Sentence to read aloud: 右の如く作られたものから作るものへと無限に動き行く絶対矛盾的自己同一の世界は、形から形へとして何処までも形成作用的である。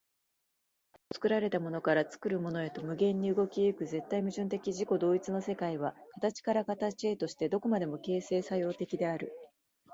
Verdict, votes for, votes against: rejected, 0, 2